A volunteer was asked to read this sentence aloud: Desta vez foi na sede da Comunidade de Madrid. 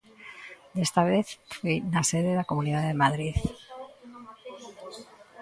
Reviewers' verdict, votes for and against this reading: rejected, 0, 2